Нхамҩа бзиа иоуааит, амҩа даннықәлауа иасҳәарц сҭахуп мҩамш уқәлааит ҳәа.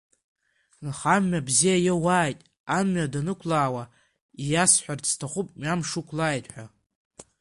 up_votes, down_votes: 3, 1